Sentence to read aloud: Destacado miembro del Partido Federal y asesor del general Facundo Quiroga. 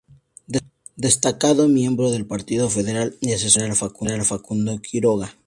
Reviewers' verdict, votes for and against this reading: rejected, 0, 2